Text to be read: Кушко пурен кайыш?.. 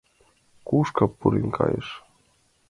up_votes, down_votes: 2, 0